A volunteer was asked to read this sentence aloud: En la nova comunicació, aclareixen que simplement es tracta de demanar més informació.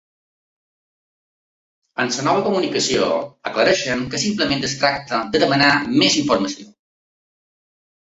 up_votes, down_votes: 1, 2